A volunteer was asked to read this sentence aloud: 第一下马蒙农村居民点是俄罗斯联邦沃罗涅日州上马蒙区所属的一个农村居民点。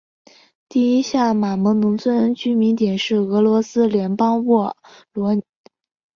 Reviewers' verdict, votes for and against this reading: rejected, 0, 4